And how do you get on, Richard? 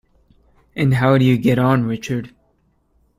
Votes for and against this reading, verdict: 2, 0, accepted